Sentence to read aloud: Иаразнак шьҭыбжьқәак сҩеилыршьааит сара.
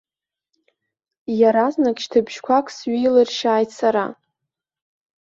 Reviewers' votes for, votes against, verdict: 2, 1, accepted